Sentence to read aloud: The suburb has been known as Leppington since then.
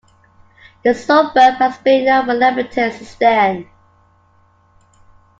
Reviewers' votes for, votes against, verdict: 1, 2, rejected